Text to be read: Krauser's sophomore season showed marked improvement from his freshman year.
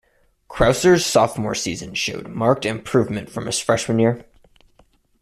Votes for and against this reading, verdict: 2, 0, accepted